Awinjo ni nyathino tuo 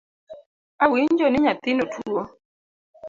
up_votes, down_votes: 2, 0